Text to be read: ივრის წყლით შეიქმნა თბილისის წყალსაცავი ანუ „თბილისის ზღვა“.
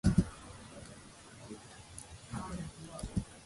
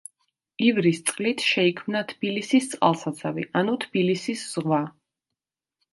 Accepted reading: second